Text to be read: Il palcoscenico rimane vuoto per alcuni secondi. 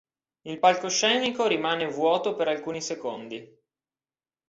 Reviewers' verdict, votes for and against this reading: accepted, 2, 0